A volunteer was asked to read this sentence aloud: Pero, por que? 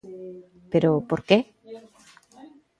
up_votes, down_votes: 1, 2